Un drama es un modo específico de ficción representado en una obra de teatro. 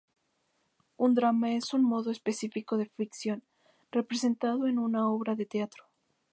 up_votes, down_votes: 0, 2